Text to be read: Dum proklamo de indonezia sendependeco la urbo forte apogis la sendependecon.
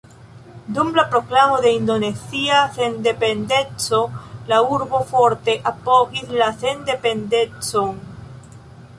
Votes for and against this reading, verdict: 0, 2, rejected